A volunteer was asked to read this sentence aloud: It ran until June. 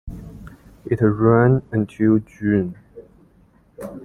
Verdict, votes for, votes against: accepted, 2, 1